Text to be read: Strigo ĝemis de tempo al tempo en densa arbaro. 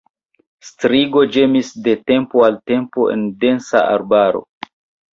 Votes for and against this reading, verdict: 2, 0, accepted